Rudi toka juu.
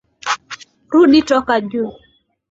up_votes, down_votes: 13, 1